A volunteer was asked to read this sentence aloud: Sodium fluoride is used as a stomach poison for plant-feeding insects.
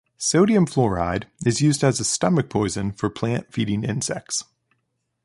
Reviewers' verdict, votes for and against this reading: accepted, 2, 0